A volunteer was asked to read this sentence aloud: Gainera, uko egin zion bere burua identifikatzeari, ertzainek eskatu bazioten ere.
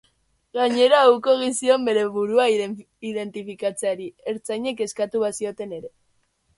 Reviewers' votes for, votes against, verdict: 1, 2, rejected